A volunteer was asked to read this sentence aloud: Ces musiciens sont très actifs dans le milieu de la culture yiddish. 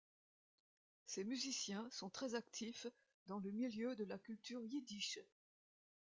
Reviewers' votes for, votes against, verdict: 2, 1, accepted